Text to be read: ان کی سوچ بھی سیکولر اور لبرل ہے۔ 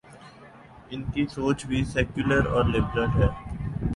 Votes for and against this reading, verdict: 2, 0, accepted